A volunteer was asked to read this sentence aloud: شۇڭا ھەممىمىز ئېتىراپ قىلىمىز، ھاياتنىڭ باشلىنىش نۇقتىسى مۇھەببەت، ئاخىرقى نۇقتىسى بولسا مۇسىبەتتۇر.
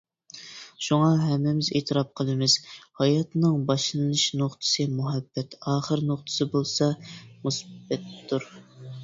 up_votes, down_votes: 0, 2